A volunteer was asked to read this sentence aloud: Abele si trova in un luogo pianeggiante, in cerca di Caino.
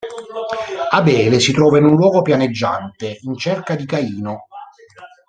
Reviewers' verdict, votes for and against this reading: accepted, 2, 0